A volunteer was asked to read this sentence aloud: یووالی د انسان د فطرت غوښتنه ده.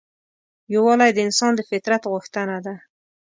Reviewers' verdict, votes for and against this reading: accepted, 2, 0